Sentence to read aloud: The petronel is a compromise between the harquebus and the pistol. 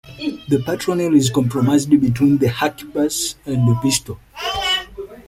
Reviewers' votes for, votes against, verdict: 0, 2, rejected